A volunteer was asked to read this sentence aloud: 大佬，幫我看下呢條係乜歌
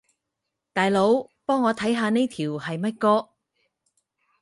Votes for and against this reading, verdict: 4, 2, accepted